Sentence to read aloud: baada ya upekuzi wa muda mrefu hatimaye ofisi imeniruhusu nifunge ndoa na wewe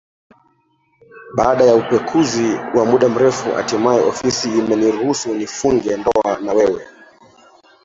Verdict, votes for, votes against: rejected, 0, 2